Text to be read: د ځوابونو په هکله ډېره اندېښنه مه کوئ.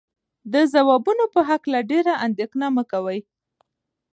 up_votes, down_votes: 1, 2